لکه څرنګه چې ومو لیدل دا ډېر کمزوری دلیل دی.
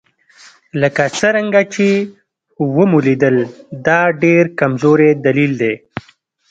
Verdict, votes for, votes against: accepted, 2, 0